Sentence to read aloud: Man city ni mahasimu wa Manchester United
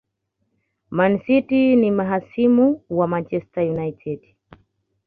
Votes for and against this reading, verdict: 2, 0, accepted